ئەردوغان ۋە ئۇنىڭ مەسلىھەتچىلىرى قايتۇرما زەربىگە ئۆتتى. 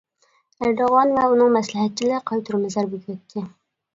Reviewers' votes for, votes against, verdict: 0, 2, rejected